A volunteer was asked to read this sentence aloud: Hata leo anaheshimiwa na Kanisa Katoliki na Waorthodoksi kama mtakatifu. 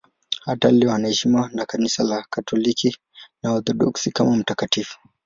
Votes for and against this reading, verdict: 2, 0, accepted